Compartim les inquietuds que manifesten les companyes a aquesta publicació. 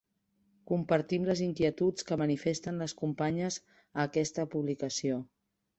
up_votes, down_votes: 2, 0